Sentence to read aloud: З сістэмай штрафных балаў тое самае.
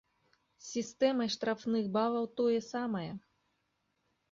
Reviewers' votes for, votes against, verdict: 2, 0, accepted